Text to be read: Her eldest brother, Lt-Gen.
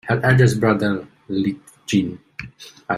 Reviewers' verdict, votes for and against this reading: accepted, 2, 1